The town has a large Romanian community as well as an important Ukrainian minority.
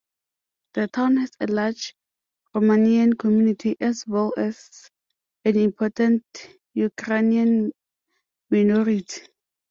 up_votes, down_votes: 2, 0